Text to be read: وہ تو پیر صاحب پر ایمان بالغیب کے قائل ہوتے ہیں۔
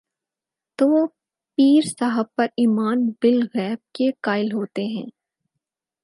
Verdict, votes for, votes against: rejected, 2, 4